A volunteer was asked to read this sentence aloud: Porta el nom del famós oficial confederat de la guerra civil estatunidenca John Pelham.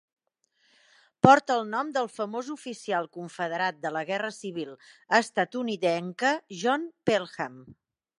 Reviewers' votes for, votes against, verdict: 2, 0, accepted